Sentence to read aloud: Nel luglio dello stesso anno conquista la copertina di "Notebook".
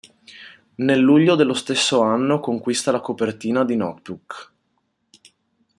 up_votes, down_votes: 1, 2